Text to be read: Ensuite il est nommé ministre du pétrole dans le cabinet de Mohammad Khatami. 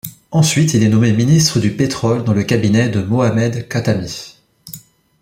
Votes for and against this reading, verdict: 1, 2, rejected